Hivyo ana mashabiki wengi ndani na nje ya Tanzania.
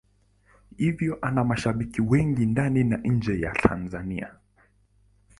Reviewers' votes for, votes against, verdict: 2, 0, accepted